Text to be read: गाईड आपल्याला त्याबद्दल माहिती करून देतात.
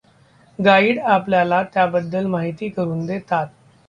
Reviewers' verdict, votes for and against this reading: accepted, 2, 1